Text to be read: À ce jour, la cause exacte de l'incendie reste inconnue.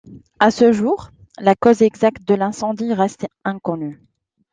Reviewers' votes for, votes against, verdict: 2, 0, accepted